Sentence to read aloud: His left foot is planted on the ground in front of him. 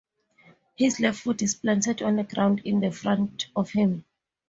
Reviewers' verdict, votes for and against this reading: accepted, 2, 0